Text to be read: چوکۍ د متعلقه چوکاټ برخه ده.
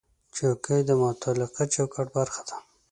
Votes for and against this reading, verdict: 2, 0, accepted